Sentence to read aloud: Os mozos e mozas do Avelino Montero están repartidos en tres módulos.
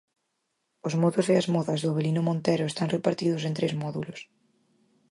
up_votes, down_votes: 0, 4